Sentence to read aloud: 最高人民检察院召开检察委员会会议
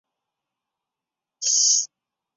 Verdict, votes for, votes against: rejected, 0, 2